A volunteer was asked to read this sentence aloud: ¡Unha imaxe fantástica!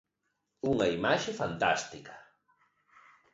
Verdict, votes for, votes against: accepted, 2, 0